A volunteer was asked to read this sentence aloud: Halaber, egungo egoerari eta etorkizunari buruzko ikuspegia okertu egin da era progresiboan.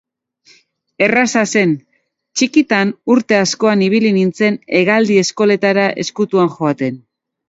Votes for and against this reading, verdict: 0, 2, rejected